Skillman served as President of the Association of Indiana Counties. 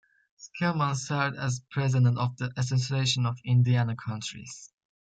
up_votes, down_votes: 1, 2